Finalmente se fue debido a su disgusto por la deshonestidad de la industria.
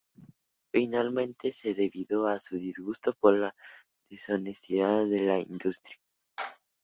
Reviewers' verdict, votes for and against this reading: rejected, 0, 4